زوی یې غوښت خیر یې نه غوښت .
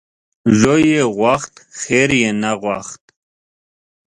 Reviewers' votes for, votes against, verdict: 2, 0, accepted